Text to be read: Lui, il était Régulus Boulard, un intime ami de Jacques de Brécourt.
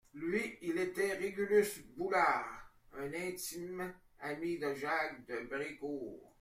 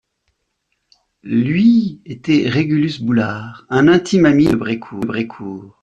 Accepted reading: first